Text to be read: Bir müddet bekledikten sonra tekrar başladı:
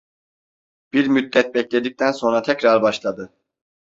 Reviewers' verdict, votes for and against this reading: accepted, 2, 0